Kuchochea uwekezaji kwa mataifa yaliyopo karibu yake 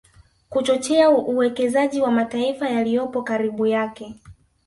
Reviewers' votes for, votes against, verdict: 0, 2, rejected